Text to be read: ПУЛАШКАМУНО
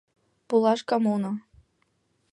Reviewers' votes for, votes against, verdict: 2, 0, accepted